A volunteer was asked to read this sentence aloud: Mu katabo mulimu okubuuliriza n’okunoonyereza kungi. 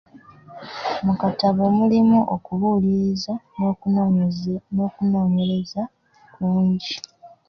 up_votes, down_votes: 1, 2